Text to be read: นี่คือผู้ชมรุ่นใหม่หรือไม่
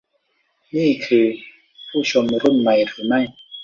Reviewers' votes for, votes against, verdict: 0, 2, rejected